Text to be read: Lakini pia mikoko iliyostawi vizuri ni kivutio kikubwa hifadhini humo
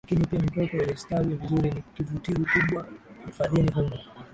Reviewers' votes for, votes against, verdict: 0, 2, rejected